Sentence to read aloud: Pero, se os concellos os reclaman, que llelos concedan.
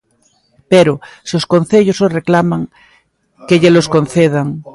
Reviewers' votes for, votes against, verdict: 2, 0, accepted